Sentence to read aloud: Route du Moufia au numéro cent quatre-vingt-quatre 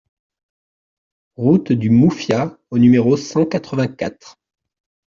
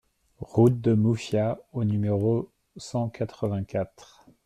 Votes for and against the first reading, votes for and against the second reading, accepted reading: 2, 0, 1, 2, first